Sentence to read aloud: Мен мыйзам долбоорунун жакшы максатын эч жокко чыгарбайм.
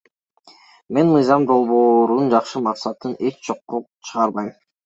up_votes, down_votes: 1, 2